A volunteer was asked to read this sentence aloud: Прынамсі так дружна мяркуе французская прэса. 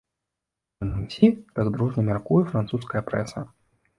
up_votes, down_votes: 1, 2